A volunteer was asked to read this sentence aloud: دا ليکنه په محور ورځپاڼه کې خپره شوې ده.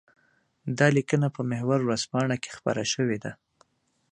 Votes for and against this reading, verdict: 2, 0, accepted